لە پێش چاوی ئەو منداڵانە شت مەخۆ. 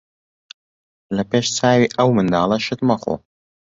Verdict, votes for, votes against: rejected, 1, 2